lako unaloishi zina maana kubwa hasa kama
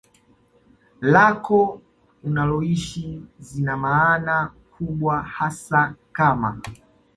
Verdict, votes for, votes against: accepted, 2, 0